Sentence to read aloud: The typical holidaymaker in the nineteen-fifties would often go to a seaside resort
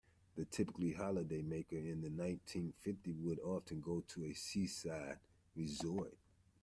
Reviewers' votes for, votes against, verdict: 0, 2, rejected